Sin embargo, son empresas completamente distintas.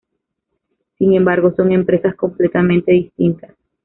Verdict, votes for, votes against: accepted, 2, 0